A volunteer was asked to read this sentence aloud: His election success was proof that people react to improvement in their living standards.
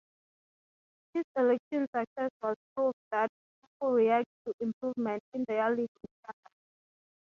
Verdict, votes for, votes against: rejected, 0, 6